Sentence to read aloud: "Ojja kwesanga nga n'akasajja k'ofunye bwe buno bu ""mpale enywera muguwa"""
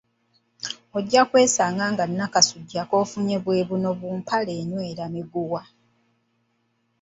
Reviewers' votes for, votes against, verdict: 0, 2, rejected